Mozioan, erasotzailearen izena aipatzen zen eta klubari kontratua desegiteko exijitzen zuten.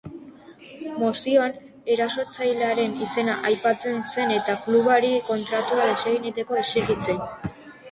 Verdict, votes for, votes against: rejected, 0, 2